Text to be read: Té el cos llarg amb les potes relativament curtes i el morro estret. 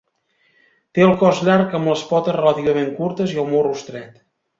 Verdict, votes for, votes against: accepted, 2, 0